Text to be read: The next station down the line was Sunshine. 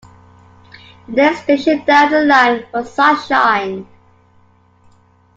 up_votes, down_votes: 2, 0